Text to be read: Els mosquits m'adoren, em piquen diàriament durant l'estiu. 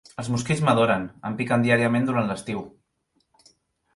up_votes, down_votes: 4, 0